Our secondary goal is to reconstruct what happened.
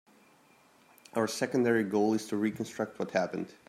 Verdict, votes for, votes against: accepted, 2, 0